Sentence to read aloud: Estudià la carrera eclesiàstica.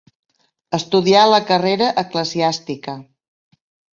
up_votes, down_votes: 3, 0